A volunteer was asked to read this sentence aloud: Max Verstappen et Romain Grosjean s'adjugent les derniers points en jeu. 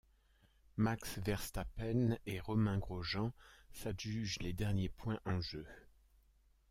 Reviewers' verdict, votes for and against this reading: accepted, 2, 0